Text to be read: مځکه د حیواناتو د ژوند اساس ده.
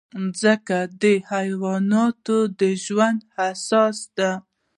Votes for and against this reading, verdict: 2, 0, accepted